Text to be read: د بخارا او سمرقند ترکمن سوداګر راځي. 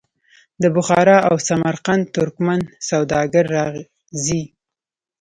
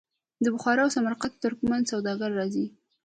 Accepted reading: second